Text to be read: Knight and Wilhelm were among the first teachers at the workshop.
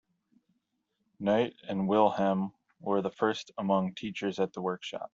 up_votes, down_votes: 0, 2